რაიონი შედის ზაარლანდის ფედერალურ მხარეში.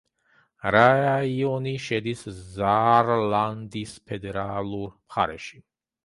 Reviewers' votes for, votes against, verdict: 0, 2, rejected